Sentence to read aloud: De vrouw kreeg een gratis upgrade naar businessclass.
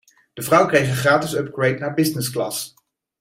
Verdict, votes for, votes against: accepted, 2, 0